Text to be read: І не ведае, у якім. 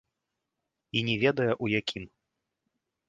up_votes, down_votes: 2, 0